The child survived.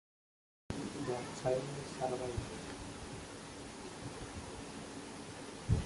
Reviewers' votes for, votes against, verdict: 1, 2, rejected